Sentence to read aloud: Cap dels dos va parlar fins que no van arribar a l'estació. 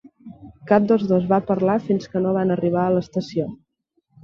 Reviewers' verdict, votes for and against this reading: accepted, 4, 0